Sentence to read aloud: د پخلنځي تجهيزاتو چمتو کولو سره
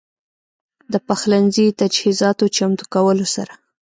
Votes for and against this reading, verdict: 2, 0, accepted